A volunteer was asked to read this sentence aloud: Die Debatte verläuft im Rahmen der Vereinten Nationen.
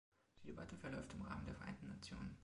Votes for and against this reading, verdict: 0, 2, rejected